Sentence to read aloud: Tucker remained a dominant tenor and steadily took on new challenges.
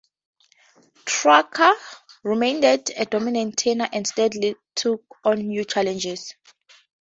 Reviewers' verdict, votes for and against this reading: rejected, 0, 2